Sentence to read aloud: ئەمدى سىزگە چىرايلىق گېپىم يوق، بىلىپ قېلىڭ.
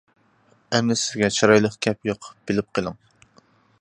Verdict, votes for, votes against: rejected, 0, 2